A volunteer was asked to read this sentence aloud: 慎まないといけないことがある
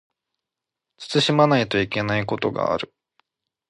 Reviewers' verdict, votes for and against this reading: accepted, 2, 0